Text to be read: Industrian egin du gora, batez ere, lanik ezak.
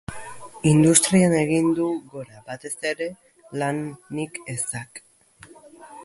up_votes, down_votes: 1, 3